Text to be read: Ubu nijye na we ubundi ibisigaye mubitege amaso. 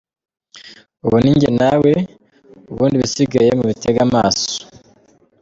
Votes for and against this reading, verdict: 2, 0, accepted